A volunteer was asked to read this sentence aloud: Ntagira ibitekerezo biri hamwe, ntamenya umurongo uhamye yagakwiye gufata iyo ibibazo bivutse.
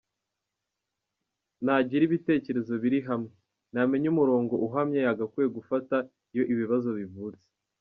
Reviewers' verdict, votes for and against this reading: rejected, 1, 2